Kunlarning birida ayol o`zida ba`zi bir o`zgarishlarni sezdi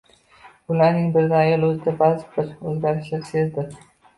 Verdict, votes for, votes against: rejected, 0, 2